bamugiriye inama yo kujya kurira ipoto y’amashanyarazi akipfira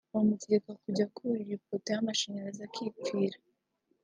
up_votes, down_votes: 0, 2